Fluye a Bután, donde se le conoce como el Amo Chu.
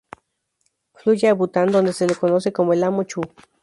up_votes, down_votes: 0, 2